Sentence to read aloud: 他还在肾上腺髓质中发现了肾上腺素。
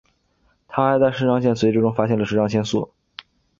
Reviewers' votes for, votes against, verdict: 3, 0, accepted